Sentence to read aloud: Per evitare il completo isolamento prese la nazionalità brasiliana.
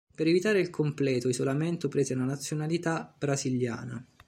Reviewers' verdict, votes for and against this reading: accepted, 2, 0